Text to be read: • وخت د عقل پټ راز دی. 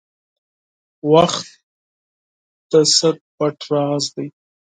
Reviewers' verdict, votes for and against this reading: rejected, 0, 4